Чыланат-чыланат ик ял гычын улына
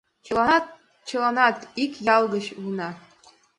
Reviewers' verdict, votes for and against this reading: accepted, 2, 0